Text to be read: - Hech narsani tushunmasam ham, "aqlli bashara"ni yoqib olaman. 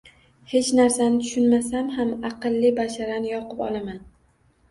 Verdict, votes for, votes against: accepted, 2, 0